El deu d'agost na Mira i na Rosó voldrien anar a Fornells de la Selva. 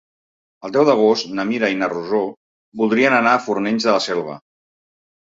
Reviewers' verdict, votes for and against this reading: accepted, 3, 0